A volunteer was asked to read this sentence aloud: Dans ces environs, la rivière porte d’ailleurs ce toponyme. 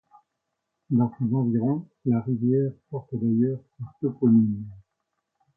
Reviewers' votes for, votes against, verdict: 1, 2, rejected